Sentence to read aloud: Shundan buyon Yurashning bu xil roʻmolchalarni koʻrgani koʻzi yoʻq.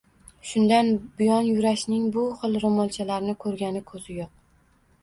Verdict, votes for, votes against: accepted, 2, 0